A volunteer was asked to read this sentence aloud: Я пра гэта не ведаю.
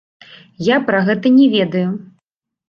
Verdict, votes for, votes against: rejected, 1, 2